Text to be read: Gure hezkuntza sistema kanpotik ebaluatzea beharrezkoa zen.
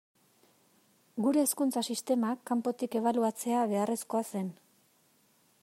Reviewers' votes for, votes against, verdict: 2, 0, accepted